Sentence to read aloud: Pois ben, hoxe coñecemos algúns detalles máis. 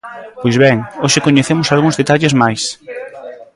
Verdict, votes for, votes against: rejected, 1, 2